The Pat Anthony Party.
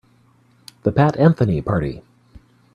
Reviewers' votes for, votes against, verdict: 3, 0, accepted